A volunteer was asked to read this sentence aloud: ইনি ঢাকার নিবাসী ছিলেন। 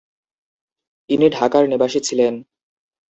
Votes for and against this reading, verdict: 2, 0, accepted